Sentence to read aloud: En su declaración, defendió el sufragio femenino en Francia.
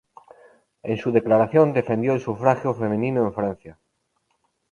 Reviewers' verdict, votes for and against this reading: accepted, 2, 0